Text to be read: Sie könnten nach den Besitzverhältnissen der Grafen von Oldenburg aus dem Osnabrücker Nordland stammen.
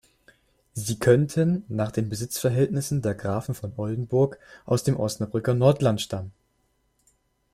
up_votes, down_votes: 2, 0